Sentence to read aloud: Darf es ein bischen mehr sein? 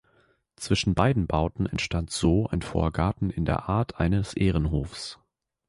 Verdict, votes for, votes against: rejected, 0, 2